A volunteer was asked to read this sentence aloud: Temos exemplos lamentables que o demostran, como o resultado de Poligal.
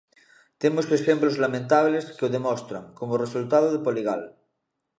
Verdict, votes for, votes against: accepted, 2, 0